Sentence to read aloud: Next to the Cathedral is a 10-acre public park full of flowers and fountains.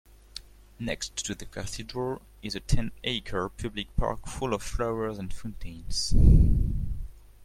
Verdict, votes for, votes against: rejected, 0, 2